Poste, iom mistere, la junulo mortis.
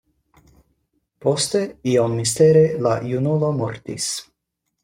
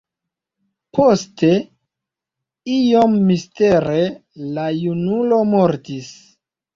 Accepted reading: first